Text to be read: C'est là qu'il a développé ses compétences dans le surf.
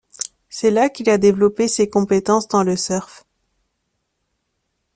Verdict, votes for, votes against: accepted, 2, 0